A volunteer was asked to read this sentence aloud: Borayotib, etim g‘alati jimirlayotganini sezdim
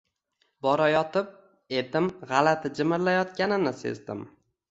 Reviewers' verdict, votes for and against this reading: accepted, 2, 1